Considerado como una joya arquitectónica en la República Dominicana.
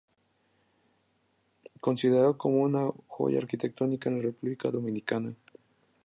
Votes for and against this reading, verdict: 2, 0, accepted